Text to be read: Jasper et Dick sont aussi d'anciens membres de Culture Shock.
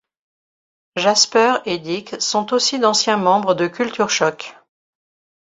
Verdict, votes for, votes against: rejected, 0, 2